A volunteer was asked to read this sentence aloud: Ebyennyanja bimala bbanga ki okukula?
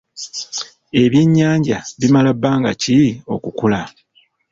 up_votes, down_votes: 2, 1